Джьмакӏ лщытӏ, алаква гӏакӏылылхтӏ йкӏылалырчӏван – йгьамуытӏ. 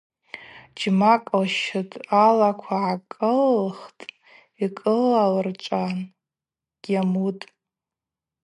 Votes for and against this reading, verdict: 4, 0, accepted